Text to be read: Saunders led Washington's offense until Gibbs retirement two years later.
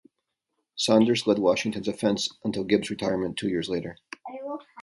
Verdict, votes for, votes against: accepted, 2, 0